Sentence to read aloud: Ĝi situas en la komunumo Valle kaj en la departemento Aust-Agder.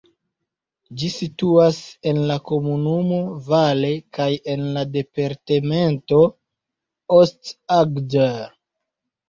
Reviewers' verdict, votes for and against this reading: rejected, 0, 2